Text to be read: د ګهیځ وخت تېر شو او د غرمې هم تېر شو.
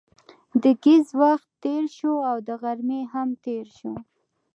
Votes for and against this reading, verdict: 2, 0, accepted